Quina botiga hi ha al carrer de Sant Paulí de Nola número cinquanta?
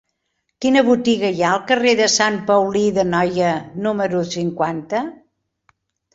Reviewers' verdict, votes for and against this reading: rejected, 0, 2